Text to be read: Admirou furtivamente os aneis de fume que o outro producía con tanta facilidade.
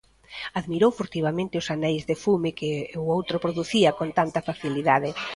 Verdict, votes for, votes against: accepted, 2, 0